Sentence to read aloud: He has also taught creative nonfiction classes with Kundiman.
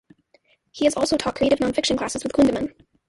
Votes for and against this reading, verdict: 1, 2, rejected